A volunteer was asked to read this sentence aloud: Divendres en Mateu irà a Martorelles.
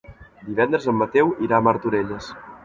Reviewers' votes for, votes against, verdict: 1, 2, rejected